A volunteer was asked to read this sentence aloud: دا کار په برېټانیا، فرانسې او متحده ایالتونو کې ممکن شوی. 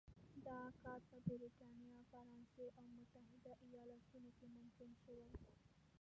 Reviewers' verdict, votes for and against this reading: rejected, 1, 2